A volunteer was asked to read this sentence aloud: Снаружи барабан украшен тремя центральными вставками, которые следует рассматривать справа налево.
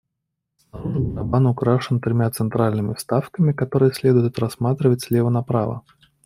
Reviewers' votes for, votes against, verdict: 0, 2, rejected